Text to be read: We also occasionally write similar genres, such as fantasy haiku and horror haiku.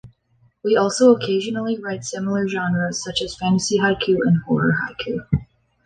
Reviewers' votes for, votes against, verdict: 3, 1, accepted